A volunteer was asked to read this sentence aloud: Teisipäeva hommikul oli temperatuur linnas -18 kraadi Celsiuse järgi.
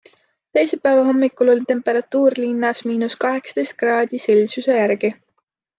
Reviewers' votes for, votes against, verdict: 0, 2, rejected